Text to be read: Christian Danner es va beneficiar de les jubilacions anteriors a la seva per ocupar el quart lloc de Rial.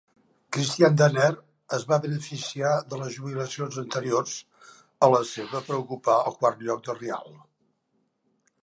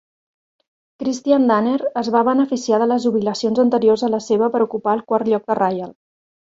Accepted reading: second